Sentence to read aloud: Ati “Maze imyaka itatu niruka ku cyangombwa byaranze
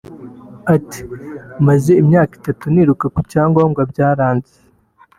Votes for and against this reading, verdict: 2, 0, accepted